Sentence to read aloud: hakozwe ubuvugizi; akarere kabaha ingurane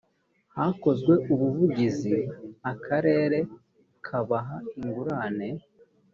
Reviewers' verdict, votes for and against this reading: accepted, 2, 0